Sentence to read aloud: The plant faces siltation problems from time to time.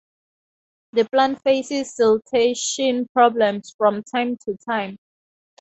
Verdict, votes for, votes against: accepted, 4, 0